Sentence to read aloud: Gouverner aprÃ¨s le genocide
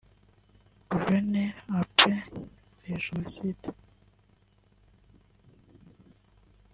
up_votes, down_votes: 0, 2